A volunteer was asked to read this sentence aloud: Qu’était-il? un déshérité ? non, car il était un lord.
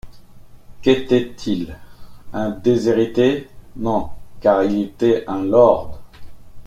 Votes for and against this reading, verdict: 2, 0, accepted